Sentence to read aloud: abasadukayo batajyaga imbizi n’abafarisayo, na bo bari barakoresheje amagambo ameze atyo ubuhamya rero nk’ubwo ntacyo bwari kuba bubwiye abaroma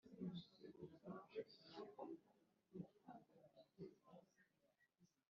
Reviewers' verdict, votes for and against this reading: rejected, 2, 3